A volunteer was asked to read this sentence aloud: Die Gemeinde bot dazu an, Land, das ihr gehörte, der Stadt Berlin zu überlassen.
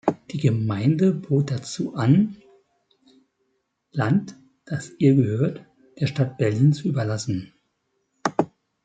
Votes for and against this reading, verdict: 2, 1, accepted